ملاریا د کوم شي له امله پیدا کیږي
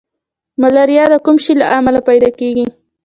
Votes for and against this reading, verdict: 2, 0, accepted